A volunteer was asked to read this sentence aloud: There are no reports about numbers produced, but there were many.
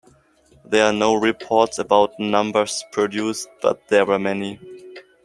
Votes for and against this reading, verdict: 2, 0, accepted